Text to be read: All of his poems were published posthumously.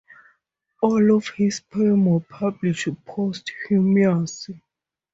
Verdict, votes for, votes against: rejected, 0, 4